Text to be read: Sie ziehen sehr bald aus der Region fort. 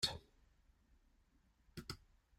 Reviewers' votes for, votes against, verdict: 0, 3, rejected